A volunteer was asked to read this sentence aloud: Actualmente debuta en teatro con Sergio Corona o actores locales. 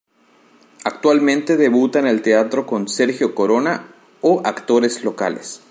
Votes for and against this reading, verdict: 1, 2, rejected